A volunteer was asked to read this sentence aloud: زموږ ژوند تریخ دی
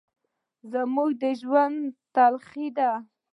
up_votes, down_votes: 1, 2